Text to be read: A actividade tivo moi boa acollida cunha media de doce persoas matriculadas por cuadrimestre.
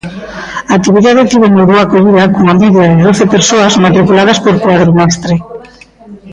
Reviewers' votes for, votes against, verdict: 0, 2, rejected